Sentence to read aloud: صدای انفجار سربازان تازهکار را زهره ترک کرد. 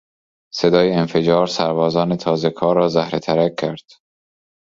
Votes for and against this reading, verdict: 2, 0, accepted